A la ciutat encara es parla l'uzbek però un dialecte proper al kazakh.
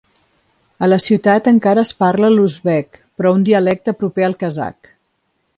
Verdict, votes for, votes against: accepted, 2, 0